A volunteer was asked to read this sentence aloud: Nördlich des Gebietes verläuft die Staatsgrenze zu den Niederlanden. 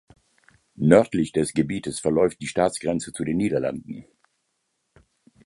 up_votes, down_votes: 2, 0